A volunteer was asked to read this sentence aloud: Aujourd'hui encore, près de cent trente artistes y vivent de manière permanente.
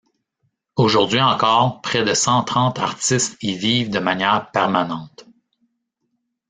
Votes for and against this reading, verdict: 0, 2, rejected